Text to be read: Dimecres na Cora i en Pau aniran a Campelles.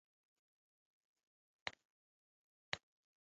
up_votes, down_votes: 0, 2